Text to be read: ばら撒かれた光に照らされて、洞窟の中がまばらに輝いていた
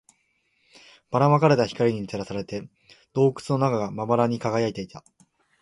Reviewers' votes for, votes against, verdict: 19, 0, accepted